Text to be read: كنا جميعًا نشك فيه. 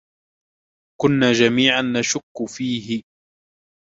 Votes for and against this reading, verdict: 2, 0, accepted